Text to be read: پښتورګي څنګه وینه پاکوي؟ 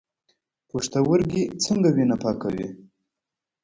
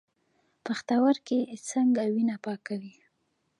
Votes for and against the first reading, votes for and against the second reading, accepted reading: 0, 2, 2, 1, second